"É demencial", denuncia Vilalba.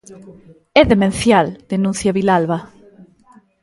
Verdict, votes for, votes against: accepted, 2, 0